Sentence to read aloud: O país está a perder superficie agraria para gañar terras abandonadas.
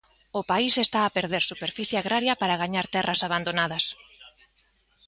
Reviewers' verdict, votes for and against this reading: accepted, 2, 0